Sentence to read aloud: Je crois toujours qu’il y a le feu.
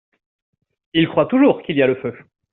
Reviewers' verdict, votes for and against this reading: rejected, 0, 2